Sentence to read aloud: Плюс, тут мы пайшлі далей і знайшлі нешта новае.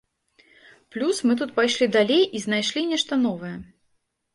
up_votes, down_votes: 1, 2